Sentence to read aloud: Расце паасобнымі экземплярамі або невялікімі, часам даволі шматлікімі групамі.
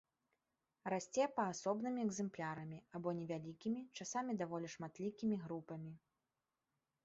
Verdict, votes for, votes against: rejected, 0, 2